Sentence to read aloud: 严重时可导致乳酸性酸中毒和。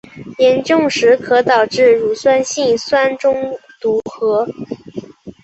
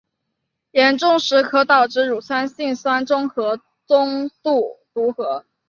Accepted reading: first